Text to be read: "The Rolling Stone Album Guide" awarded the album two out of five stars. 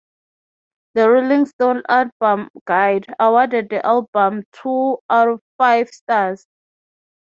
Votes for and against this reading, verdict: 6, 0, accepted